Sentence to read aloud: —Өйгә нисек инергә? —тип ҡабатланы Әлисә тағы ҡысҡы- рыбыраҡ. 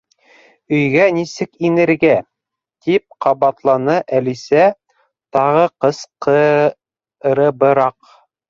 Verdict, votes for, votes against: rejected, 0, 2